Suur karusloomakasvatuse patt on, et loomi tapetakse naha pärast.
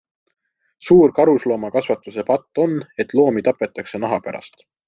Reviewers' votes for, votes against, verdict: 2, 0, accepted